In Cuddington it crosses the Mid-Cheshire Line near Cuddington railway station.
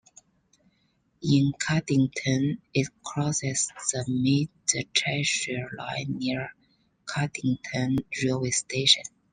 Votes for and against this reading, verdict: 0, 2, rejected